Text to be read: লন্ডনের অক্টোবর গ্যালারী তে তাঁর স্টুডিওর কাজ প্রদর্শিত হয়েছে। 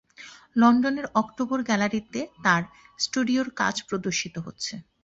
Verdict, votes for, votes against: rejected, 1, 2